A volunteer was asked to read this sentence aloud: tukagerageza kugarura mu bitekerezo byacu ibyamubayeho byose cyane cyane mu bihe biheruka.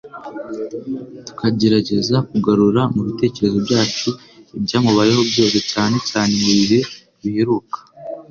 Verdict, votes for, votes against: accepted, 3, 0